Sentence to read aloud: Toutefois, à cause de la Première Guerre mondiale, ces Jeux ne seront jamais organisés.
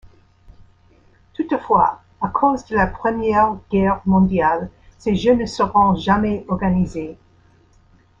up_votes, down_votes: 2, 0